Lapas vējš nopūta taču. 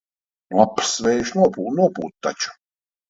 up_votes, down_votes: 0, 2